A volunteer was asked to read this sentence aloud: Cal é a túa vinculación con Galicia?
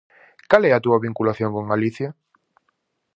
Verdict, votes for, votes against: accepted, 4, 0